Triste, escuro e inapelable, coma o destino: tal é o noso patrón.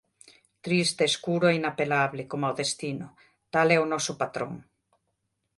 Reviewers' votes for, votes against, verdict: 2, 0, accepted